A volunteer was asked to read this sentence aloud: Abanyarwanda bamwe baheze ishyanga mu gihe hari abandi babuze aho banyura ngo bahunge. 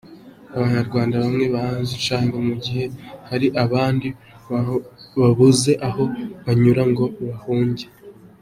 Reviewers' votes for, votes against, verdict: 1, 2, rejected